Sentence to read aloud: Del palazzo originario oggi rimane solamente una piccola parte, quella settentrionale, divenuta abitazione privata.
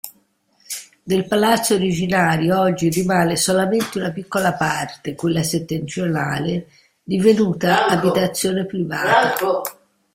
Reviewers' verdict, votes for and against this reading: accepted, 2, 1